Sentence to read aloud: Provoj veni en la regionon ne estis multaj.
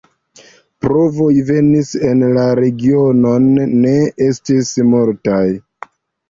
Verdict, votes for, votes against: rejected, 1, 2